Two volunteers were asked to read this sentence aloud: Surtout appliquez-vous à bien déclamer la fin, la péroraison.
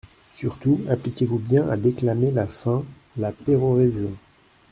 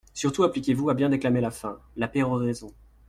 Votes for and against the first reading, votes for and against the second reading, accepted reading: 0, 2, 2, 0, second